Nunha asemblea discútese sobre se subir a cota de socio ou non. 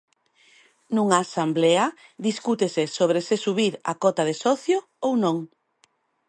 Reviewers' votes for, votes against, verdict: 0, 2, rejected